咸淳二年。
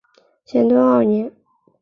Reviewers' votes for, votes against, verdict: 3, 0, accepted